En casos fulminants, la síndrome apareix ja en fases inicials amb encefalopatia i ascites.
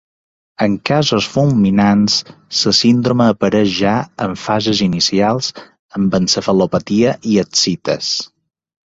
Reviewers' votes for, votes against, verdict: 1, 2, rejected